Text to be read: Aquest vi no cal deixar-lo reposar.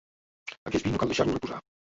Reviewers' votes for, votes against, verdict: 0, 2, rejected